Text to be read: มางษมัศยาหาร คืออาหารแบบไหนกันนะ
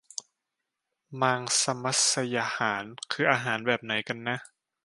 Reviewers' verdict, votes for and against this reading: accepted, 2, 0